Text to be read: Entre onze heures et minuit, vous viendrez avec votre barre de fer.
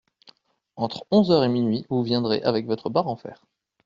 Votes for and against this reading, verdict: 0, 2, rejected